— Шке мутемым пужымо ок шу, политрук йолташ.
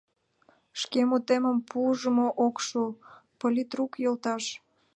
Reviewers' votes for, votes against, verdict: 2, 0, accepted